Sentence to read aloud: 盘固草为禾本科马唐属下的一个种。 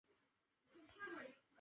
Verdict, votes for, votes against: rejected, 1, 3